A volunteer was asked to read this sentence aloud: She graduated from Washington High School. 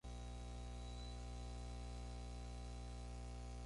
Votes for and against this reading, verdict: 0, 4, rejected